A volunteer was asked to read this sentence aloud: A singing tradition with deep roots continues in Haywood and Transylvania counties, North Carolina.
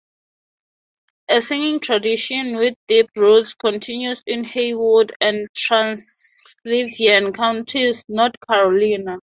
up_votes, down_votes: 0, 2